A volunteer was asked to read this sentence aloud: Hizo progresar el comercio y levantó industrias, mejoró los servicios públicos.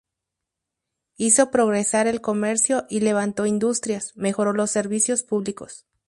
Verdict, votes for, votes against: accepted, 2, 0